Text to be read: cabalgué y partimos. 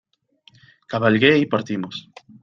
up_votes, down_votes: 2, 0